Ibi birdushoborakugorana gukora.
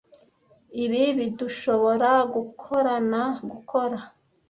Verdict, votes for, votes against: rejected, 1, 2